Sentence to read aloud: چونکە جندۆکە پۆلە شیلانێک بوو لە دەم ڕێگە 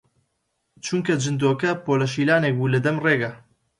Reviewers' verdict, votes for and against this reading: accepted, 2, 0